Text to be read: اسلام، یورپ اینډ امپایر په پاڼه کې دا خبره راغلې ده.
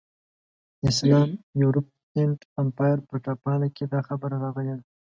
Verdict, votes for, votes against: accepted, 2, 0